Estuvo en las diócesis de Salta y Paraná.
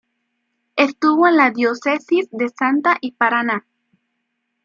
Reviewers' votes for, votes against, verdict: 2, 1, accepted